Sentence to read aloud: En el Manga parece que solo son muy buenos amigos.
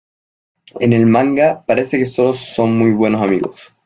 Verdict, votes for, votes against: accepted, 2, 1